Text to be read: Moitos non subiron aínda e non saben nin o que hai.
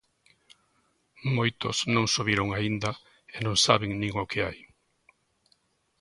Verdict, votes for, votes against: accepted, 2, 0